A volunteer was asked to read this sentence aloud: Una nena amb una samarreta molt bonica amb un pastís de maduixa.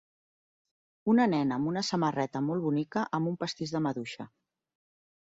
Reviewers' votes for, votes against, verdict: 3, 0, accepted